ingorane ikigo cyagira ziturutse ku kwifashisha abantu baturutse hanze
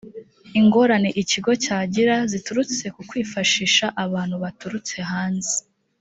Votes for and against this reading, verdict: 2, 1, accepted